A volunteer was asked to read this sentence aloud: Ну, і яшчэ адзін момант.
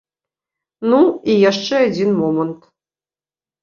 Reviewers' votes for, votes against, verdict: 2, 1, accepted